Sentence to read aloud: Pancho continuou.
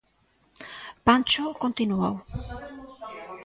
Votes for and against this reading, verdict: 1, 2, rejected